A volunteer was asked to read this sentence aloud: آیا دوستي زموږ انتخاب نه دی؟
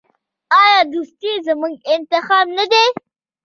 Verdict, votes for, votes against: rejected, 1, 2